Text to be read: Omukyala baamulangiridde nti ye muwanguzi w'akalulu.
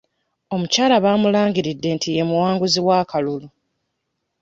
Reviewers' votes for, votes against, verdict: 2, 0, accepted